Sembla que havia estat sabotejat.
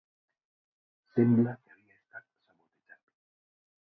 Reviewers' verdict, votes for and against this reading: rejected, 1, 2